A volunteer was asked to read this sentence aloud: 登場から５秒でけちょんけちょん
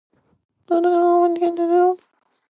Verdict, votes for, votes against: rejected, 0, 2